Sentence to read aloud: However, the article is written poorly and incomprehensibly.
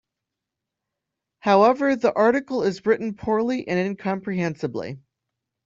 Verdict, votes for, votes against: accepted, 2, 0